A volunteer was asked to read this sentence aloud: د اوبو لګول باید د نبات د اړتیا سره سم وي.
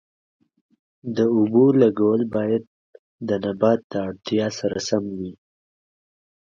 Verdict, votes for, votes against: accepted, 2, 0